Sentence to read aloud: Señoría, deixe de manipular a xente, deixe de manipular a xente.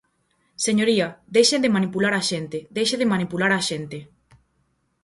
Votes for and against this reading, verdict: 4, 0, accepted